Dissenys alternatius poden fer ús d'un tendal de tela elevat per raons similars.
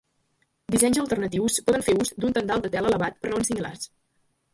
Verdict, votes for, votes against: rejected, 1, 2